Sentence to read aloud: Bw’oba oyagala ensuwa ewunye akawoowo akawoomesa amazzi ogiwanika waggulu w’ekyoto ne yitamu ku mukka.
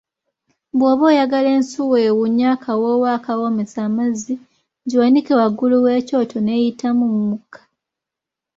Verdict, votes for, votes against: rejected, 1, 2